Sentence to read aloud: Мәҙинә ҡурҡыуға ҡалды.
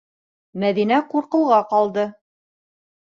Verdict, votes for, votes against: accepted, 2, 0